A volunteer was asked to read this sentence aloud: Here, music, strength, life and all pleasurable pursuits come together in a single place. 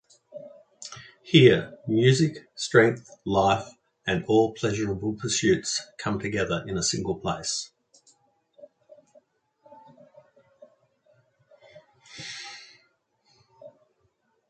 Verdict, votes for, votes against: rejected, 1, 2